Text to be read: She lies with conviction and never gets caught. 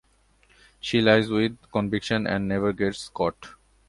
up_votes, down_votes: 2, 0